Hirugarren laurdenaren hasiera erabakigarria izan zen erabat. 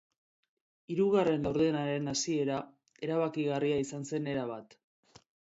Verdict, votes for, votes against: accepted, 2, 0